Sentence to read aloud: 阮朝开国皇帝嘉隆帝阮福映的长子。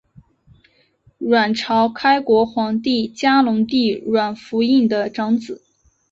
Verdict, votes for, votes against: accepted, 3, 1